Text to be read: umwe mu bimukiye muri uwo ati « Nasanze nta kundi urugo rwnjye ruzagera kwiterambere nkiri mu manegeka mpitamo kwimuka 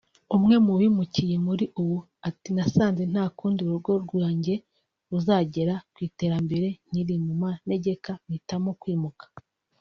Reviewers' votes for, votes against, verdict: 2, 0, accepted